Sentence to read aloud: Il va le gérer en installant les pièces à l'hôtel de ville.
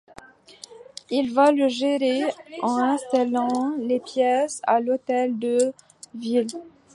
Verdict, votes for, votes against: rejected, 0, 2